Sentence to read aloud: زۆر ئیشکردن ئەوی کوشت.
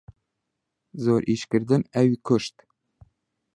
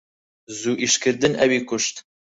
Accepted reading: first